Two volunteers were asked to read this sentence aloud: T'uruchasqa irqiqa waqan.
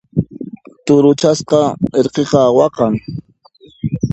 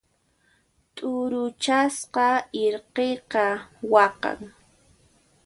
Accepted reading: second